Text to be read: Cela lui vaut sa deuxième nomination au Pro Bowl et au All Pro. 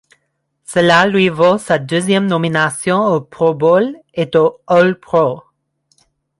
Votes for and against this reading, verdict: 1, 2, rejected